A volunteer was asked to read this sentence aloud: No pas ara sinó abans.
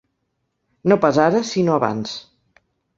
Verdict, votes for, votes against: accepted, 3, 0